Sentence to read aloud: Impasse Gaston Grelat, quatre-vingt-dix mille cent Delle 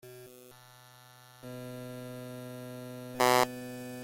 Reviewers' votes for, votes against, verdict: 0, 2, rejected